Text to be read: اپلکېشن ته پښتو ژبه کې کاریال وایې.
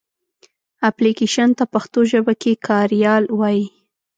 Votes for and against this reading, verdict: 2, 0, accepted